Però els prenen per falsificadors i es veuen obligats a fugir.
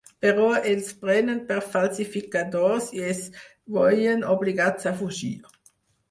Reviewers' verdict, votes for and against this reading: rejected, 2, 4